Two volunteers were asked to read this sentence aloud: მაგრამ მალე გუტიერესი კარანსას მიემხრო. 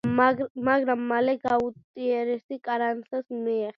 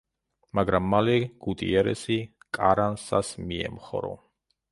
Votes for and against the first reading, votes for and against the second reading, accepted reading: 0, 2, 2, 1, second